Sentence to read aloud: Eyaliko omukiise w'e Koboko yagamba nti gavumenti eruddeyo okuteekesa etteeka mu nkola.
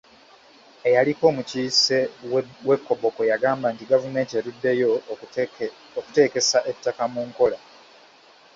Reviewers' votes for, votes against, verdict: 1, 2, rejected